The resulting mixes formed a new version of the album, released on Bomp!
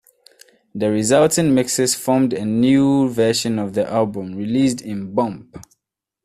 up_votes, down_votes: 0, 2